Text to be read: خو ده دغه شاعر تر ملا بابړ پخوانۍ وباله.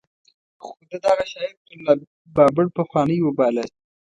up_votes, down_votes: 1, 2